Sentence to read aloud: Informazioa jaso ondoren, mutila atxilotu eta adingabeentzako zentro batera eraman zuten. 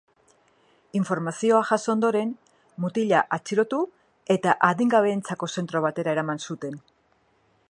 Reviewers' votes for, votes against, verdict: 2, 0, accepted